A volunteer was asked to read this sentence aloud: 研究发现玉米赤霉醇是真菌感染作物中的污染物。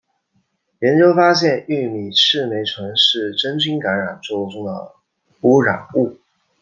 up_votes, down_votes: 2, 0